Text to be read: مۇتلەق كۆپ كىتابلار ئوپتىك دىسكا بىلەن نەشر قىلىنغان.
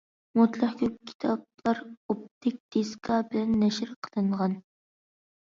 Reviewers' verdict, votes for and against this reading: accepted, 2, 0